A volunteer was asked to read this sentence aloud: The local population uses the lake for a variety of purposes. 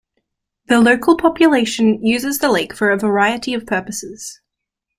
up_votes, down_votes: 2, 0